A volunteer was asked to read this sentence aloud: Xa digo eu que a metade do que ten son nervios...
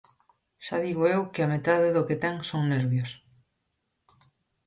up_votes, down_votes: 4, 0